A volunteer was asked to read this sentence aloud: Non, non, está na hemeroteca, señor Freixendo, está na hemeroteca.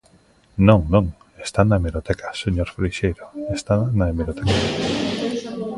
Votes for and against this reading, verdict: 0, 2, rejected